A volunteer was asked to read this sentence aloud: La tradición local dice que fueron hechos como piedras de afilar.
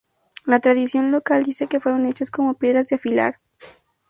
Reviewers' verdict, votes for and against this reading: rejected, 0, 2